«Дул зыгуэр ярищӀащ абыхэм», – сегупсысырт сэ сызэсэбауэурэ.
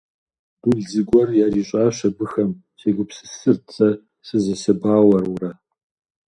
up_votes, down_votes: 2, 0